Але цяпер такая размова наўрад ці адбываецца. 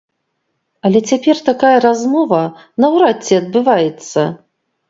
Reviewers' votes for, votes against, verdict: 2, 0, accepted